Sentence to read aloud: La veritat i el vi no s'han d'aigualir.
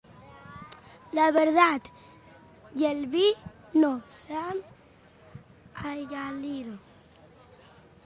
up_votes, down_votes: 0, 2